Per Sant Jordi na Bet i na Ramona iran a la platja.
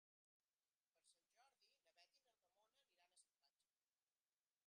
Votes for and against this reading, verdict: 0, 2, rejected